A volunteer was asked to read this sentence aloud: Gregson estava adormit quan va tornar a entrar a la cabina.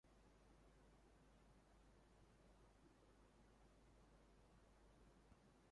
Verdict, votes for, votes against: rejected, 0, 2